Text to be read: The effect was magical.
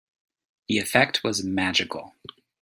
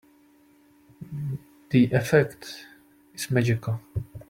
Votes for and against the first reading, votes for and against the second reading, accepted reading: 2, 0, 0, 2, first